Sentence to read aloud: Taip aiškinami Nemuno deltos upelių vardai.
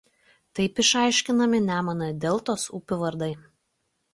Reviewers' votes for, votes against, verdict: 1, 2, rejected